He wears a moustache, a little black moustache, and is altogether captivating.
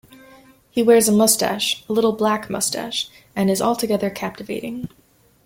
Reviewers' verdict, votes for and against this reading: accepted, 2, 0